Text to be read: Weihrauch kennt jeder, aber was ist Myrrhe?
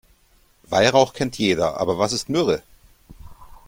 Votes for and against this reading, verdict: 2, 0, accepted